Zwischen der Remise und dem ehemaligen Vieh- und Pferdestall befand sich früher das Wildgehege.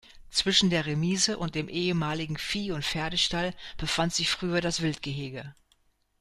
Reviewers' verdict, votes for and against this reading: accepted, 2, 0